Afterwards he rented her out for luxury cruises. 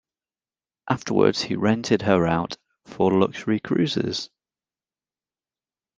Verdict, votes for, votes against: accepted, 2, 0